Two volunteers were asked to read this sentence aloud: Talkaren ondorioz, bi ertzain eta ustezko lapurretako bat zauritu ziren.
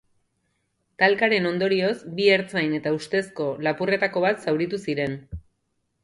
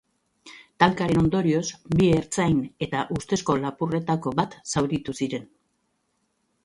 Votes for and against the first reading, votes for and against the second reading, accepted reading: 2, 0, 0, 2, first